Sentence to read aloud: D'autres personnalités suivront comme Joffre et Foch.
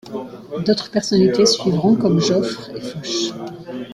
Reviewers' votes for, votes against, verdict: 1, 2, rejected